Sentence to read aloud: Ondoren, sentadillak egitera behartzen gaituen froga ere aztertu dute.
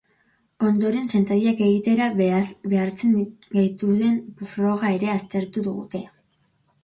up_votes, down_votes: 0, 3